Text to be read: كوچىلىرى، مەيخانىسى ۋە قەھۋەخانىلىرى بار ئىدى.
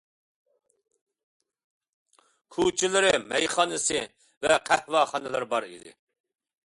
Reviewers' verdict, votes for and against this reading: accepted, 2, 0